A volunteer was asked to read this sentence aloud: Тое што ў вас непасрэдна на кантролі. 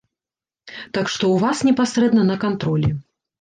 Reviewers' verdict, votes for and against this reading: rejected, 1, 2